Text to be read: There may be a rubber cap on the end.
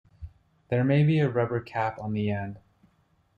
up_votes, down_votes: 2, 0